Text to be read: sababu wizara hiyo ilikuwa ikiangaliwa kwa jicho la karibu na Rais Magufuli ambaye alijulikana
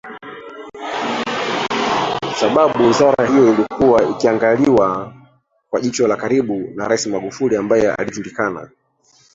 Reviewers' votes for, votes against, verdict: 1, 2, rejected